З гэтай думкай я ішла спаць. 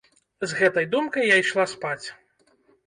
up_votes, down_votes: 2, 0